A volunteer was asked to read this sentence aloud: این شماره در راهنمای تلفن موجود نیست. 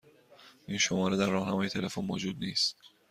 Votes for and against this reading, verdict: 2, 0, accepted